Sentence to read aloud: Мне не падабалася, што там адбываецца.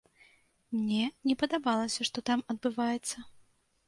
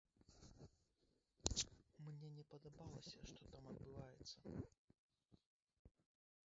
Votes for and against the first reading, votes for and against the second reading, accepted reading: 2, 0, 0, 3, first